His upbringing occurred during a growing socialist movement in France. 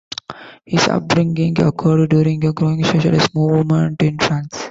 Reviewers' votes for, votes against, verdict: 2, 0, accepted